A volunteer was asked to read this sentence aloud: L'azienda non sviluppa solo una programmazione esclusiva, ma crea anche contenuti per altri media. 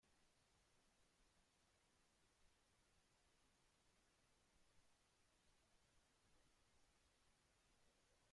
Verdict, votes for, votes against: rejected, 0, 2